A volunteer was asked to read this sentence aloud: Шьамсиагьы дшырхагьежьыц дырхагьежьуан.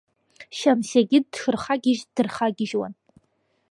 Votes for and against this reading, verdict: 1, 2, rejected